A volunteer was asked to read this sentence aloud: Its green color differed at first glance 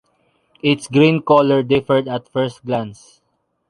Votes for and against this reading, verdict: 2, 0, accepted